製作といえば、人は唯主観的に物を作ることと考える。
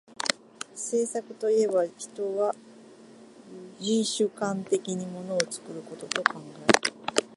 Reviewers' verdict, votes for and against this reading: accepted, 2, 0